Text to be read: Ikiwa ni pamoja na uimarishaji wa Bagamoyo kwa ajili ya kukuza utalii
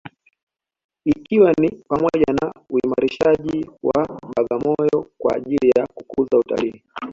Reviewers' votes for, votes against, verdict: 2, 0, accepted